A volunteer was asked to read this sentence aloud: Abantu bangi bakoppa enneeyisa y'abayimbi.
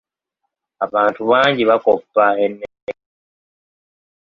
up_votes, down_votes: 0, 2